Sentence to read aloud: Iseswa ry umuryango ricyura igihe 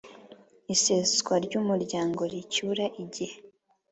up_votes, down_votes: 4, 0